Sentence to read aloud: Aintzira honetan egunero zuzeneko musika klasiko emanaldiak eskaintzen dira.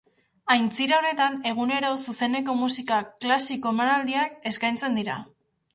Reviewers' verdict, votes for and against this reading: accepted, 2, 0